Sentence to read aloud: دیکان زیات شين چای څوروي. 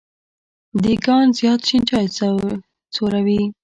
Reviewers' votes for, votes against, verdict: 1, 2, rejected